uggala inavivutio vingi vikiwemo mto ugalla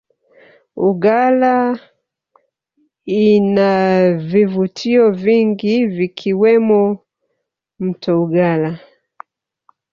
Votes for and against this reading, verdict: 2, 1, accepted